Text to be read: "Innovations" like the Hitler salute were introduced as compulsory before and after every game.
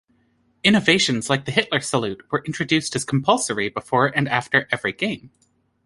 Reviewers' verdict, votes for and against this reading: accepted, 2, 0